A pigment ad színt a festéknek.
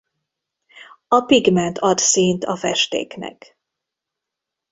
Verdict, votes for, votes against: accepted, 3, 0